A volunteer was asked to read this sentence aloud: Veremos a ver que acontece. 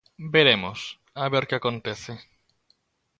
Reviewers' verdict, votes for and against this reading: accepted, 2, 0